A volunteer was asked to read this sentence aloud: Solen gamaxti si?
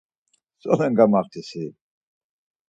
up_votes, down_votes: 4, 0